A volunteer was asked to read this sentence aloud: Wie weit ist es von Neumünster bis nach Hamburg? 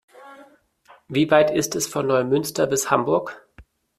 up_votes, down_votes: 0, 2